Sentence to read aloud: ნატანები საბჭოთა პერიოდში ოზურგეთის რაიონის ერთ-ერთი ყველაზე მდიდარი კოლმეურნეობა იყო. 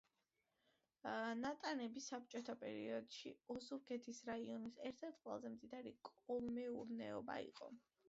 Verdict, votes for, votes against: accepted, 2, 0